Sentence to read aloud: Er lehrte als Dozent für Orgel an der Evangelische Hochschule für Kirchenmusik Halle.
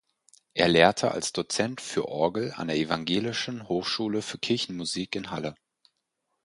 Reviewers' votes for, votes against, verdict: 0, 4, rejected